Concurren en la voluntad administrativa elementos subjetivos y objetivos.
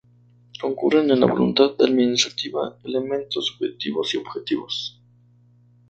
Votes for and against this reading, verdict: 0, 2, rejected